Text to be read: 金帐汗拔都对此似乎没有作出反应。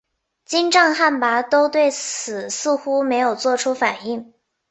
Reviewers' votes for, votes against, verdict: 5, 0, accepted